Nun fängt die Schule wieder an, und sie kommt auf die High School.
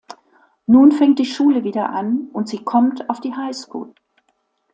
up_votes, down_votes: 2, 0